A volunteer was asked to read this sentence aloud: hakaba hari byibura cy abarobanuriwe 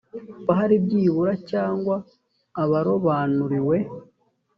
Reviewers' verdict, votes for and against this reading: accepted, 2, 1